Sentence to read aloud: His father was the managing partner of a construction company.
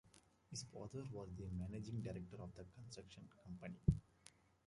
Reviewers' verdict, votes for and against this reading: rejected, 0, 2